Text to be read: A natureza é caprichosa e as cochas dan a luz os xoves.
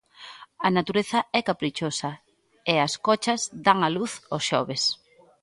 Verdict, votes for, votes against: accepted, 2, 0